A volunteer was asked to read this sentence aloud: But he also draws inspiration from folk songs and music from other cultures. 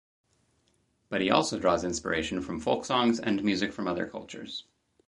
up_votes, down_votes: 2, 0